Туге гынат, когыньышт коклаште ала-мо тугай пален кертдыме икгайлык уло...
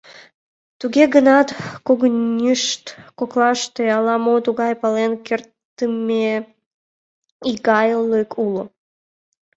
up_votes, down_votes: 1, 2